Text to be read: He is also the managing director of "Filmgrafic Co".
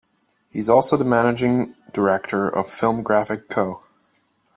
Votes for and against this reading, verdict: 2, 0, accepted